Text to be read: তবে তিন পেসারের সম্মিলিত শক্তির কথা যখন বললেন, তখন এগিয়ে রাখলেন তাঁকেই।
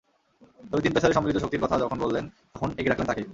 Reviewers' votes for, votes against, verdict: 0, 2, rejected